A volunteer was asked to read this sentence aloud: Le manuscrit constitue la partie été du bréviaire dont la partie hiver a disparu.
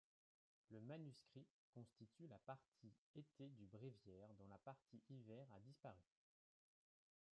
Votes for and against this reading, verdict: 2, 1, accepted